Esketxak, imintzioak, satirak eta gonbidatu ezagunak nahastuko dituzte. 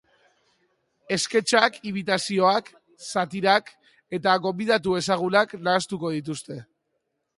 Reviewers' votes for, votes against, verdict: 1, 2, rejected